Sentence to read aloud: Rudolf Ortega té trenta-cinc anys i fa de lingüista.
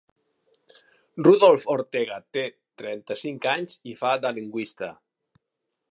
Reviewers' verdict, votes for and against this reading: accepted, 3, 1